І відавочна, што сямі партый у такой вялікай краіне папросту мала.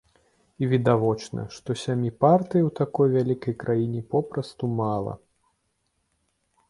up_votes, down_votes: 0, 2